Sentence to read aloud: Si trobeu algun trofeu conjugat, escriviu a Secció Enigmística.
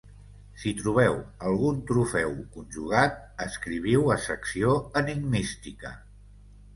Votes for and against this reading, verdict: 5, 0, accepted